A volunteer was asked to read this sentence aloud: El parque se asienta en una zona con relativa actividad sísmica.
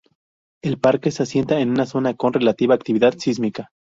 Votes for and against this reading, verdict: 0, 2, rejected